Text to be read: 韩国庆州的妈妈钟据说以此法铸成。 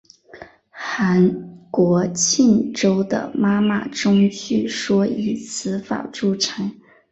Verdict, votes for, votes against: accepted, 2, 1